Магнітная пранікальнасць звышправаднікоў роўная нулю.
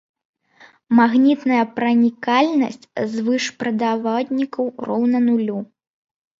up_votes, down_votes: 1, 2